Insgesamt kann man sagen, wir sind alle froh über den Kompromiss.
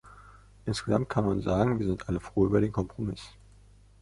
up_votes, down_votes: 2, 0